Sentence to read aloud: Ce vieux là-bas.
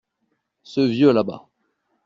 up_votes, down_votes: 2, 0